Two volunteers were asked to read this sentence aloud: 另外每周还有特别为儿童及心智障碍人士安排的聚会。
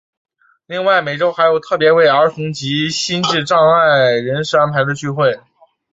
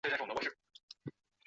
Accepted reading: first